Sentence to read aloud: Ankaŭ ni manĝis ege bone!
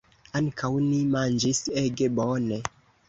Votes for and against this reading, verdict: 2, 0, accepted